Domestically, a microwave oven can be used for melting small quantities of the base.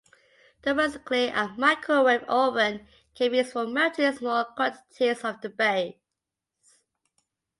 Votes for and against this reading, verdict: 2, 0, accepted